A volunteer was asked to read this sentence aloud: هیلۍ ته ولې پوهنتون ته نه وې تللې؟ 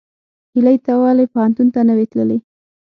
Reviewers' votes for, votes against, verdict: 6, 0, accepted